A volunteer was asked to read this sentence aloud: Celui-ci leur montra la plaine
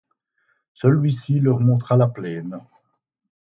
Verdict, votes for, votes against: accepted, 4, 0